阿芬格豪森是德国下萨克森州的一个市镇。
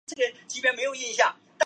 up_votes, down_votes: 1, 4